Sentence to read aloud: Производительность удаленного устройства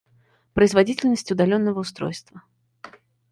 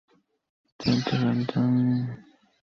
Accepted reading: first